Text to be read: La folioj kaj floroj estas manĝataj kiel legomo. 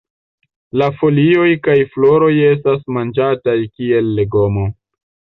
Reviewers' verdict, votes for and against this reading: accepted, 2, 0